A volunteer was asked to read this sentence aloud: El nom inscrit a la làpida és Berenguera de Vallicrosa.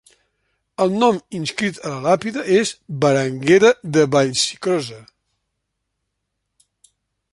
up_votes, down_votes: 1, 2